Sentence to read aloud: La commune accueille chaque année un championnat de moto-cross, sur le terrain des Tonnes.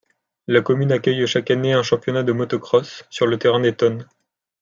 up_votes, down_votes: 2, 0